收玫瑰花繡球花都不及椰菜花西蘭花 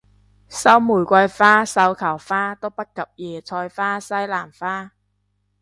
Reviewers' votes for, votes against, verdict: 2, 0, accepted